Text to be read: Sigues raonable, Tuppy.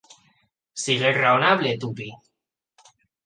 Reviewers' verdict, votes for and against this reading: accepted, 2, 0